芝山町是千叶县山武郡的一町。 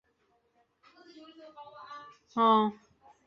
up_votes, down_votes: 0, 2